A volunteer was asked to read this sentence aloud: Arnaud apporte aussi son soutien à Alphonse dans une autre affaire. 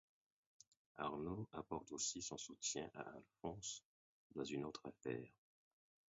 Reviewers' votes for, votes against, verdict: 2, 4, rejected